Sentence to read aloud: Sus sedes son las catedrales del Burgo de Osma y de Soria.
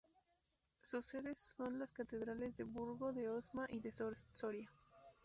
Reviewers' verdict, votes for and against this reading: rejected, 0, 2